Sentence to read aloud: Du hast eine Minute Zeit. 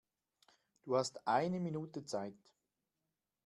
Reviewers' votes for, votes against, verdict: 2, 0, accepted